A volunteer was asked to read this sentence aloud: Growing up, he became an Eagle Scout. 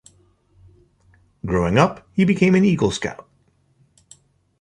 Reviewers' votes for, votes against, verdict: 2, 0, accepted